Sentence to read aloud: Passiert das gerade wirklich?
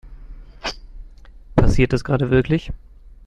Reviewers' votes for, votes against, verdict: 1, 2, rejected